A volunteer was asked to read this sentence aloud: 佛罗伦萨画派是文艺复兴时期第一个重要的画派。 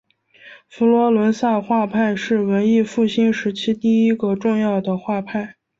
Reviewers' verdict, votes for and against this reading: accepted, 2, 0